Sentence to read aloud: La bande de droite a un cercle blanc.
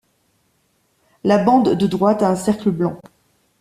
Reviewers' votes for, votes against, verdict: 2, 0, accepted